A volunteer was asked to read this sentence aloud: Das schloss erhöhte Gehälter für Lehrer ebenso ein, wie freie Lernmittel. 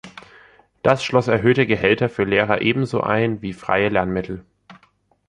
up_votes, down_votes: 2, 0